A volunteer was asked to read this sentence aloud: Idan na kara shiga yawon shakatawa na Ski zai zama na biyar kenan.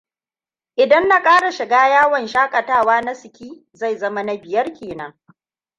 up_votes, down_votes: 2, 1